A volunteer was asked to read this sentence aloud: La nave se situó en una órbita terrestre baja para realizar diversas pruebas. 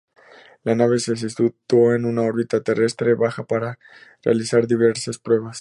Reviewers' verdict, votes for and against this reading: rejected, 0, 2